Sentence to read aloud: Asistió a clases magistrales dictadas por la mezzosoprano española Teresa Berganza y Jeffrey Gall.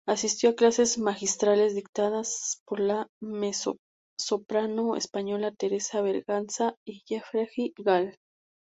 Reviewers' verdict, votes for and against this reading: rejected, 0, 2